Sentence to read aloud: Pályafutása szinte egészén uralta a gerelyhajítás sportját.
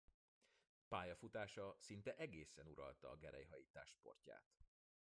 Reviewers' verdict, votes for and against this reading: rejected, 0, 2